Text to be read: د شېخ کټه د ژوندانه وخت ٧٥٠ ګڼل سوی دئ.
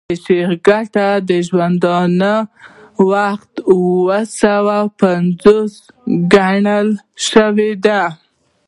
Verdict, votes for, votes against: rejected, 0, 2